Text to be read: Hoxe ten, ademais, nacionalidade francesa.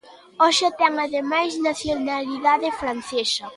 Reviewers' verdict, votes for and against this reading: accepted, 2, 1